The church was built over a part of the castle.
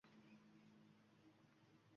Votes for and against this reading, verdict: 0, 2, rejected